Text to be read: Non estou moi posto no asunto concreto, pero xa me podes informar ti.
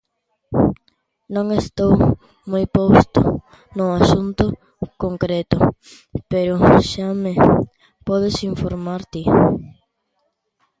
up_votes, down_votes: 1, 2